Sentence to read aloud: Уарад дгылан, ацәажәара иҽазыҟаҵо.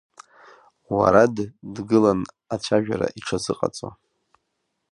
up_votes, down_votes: 0, 2